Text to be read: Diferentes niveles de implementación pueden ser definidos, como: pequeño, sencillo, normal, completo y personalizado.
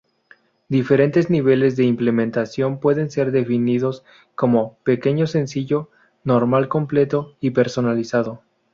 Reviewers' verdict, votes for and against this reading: accepted, 2, 0